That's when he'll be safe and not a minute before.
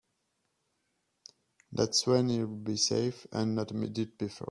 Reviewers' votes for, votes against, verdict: 0, 2, rejected